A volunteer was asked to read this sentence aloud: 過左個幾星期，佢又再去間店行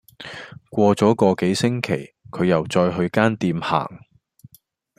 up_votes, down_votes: 2, 0